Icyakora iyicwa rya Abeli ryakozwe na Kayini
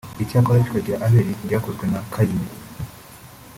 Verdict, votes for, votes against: rejected, 1, 2